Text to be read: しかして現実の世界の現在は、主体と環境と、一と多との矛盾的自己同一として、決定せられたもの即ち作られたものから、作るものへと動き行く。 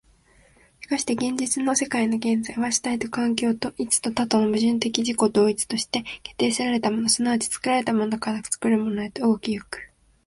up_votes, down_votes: 2, 0